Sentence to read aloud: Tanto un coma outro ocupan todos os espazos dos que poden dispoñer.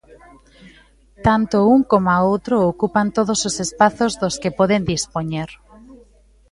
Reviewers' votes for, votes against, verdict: 1, 2, rejected